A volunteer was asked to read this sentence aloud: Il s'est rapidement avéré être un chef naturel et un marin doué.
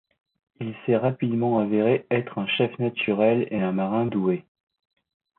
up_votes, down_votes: 2, 0